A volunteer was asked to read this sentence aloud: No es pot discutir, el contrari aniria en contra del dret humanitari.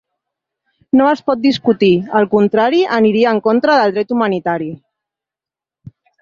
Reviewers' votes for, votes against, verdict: 3, 0, accepted